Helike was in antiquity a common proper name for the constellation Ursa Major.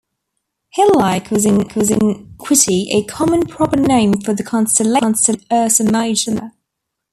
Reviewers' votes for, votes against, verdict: 0, 2, rejected